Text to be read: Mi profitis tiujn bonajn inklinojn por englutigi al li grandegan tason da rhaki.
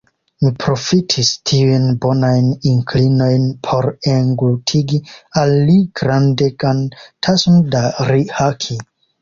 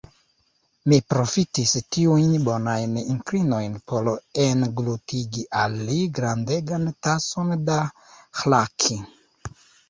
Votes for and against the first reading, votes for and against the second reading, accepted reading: 2, 0, 1, 2, first